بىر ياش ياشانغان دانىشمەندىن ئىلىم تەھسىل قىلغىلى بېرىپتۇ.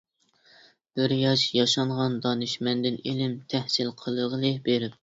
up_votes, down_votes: 0, 2